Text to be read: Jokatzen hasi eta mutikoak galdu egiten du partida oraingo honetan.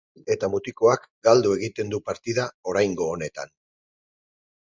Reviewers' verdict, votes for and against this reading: rejected, 0, 4